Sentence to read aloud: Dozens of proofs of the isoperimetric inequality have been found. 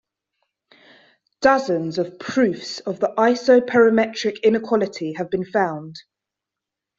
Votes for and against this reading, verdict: 3, 0, accepted